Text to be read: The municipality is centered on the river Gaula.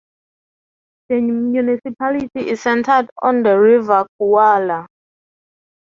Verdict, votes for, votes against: rejected, 0, 6